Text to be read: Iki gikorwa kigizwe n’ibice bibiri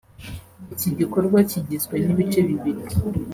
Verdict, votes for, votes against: accepted, 2, 0